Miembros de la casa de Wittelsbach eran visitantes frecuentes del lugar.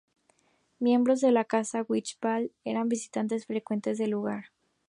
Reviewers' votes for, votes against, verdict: 0, 2, rejected